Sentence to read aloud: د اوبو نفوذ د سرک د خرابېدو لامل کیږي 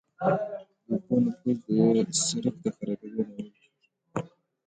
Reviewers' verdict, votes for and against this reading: rejected, 1, 2